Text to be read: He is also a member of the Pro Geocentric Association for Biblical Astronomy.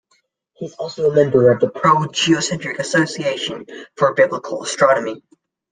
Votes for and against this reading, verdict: 1, 2, rejected